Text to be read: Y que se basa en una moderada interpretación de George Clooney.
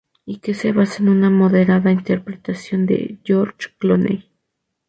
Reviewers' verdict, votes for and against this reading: accepted, 2, 0